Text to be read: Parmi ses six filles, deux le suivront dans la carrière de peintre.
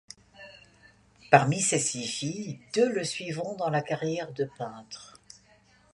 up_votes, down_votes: 2, 0